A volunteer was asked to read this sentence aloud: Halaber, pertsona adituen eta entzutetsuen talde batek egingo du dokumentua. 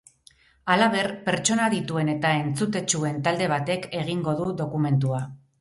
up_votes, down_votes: 0, 2